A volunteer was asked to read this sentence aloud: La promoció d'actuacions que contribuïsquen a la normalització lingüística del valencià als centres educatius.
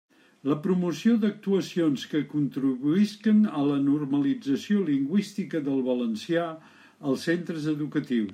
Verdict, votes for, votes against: rejected, 1, 2